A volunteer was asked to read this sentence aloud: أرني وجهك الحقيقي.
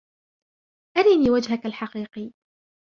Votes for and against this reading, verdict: 2, 0, accepted